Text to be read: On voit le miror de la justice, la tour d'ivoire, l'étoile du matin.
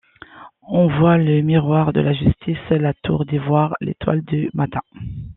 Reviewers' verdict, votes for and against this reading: accepted, 2, 0